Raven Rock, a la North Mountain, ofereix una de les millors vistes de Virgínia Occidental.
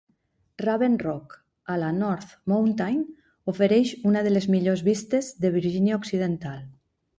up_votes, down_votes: 3, 0